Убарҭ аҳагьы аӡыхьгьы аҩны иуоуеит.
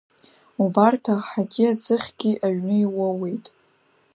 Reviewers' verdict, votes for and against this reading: accepted, 2, 0